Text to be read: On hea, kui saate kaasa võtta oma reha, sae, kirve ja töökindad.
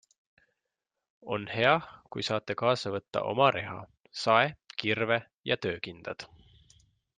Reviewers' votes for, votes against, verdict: 3, 0, accepted